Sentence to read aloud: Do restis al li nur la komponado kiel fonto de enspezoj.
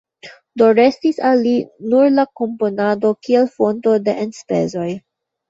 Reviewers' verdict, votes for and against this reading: rejected, 0, 3